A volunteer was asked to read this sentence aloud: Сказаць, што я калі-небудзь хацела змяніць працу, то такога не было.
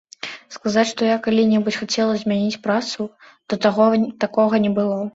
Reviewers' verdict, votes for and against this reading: rejected, 0, 2